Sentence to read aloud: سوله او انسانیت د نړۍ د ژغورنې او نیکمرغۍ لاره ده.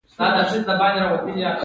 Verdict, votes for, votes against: accepted, 3, 0